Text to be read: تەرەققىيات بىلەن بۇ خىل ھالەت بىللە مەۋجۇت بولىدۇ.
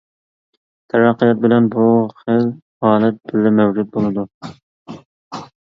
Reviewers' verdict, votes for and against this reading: rejected, 0, 2